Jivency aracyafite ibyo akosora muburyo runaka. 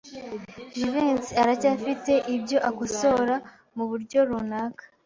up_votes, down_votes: 2, 0